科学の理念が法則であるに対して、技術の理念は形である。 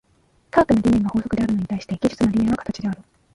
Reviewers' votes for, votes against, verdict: 0, 2, rejected